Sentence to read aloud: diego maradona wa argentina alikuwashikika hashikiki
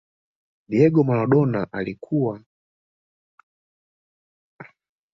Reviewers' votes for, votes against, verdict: 1, 2, rejected